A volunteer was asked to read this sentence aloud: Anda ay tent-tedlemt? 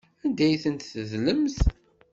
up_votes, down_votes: 2, 0